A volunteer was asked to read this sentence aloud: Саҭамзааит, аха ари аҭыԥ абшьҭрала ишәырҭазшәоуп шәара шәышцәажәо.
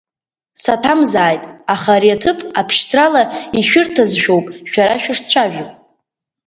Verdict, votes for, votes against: accepted, 4, 0